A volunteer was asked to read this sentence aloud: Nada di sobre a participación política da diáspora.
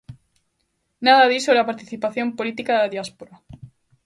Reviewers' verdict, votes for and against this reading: accepted, 2, 0